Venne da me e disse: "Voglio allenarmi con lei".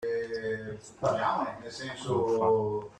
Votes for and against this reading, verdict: 0, 2, rejected